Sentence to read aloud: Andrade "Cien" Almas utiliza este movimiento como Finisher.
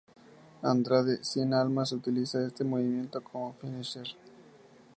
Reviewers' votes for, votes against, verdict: 2, 0, accepted